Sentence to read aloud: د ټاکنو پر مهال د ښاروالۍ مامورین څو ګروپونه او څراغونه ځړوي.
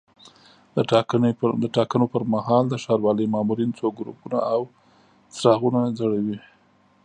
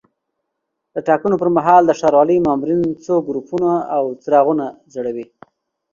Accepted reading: second